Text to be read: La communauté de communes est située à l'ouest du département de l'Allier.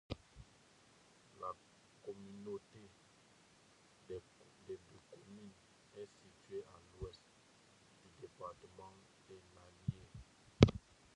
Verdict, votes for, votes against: rejected, 0, 2